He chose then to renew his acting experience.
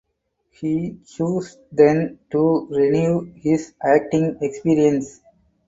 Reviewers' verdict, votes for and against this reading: rejected, 4, 10